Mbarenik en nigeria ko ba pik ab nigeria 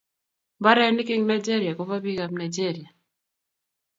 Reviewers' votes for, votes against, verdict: 2, 0, accepted